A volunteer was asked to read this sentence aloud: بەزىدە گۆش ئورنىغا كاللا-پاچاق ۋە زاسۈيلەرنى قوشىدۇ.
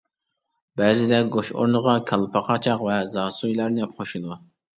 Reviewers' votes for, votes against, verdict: 0, 2, rejected